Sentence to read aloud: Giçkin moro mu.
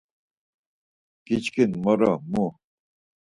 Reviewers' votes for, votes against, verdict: 4, 0, accepted